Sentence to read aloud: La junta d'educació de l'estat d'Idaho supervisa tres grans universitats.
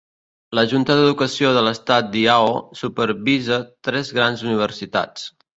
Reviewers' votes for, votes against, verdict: 0, 2, rejected